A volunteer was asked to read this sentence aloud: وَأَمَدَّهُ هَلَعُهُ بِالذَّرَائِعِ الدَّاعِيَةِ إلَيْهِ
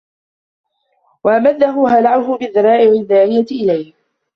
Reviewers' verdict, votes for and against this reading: rejected, 1, 2